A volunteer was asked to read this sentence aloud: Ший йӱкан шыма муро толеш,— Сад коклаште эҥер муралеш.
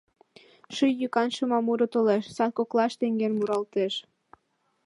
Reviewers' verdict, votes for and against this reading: rejected, 0, 2